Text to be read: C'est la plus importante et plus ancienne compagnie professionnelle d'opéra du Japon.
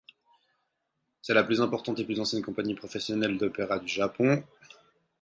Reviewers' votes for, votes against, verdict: 4, 0, accepted